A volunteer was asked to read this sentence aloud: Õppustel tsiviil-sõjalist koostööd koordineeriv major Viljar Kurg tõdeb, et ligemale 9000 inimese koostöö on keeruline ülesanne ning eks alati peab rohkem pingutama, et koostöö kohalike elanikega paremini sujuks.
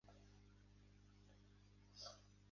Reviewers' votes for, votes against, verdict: 0, 2, rejected